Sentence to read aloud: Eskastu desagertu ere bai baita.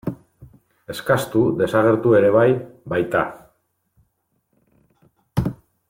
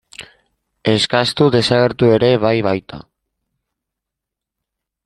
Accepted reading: first